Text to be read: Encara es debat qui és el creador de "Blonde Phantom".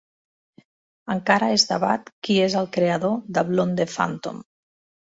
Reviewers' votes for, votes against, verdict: 1, 3, rejected